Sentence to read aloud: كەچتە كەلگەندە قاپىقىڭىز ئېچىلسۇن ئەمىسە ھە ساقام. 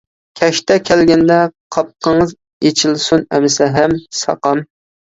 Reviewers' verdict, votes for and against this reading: rejected, 0, 2